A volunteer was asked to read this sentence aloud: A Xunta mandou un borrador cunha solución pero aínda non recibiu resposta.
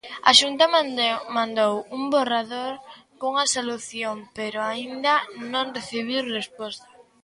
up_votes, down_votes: 1, 2